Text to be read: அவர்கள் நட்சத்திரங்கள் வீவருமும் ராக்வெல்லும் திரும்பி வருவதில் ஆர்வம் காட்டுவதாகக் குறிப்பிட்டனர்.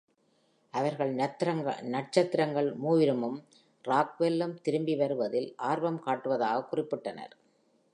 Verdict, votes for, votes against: rejected, 0, 2